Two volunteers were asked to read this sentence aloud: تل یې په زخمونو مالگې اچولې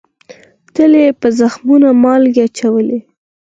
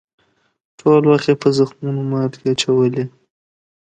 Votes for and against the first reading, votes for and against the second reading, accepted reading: 4, 2, 1, 2, first